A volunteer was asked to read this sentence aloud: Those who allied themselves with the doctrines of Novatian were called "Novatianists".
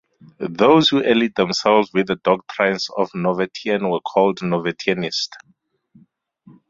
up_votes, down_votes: 2, 2